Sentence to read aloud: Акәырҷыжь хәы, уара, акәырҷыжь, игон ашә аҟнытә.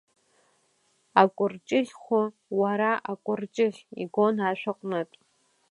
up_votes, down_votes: 2, 0